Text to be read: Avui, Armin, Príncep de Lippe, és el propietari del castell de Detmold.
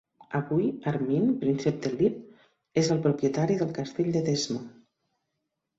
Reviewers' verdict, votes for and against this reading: rejected, 0, 2